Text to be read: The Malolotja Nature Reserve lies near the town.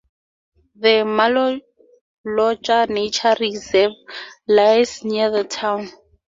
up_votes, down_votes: 2, 0